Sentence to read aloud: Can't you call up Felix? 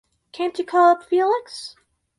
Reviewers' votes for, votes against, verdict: 4, 0, accepted